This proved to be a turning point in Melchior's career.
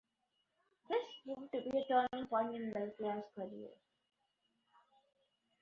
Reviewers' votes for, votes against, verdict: 1, 2, rejected